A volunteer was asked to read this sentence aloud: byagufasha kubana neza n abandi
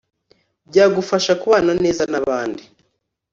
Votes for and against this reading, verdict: 2, 0, accepted